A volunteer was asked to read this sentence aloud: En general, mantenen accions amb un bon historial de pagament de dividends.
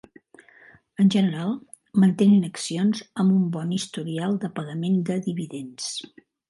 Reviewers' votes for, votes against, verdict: 3, 0, accepted